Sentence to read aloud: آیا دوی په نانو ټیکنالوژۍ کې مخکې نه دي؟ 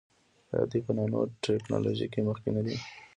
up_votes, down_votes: 3, 0